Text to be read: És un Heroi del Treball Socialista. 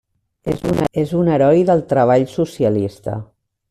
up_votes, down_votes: 3, 1